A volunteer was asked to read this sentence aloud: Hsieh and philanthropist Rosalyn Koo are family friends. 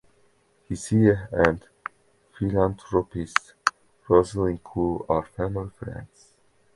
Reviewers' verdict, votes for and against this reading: rejected, 1, 2